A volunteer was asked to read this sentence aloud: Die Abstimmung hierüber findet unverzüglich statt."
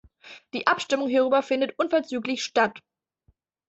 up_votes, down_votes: 2, 0